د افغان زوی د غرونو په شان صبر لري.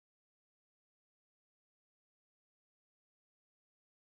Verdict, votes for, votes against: rejected, 0, 3